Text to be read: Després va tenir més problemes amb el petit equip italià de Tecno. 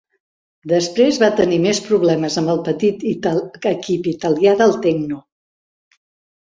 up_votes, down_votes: 0, 2